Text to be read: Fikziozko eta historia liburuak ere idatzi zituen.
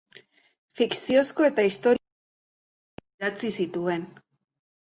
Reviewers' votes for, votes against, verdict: 0, 2, rejected